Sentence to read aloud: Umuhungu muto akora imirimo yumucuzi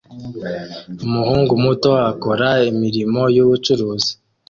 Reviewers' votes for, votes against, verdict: 1, 2, rejected